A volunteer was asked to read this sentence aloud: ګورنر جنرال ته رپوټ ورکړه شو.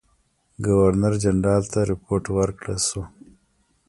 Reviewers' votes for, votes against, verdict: 2, 0, accepted